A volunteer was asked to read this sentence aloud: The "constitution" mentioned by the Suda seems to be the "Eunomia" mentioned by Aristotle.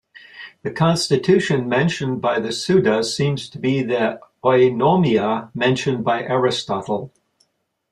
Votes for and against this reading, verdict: 2, 0, accepted